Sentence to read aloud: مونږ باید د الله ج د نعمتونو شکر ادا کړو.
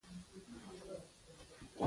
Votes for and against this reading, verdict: 0, 2, rejected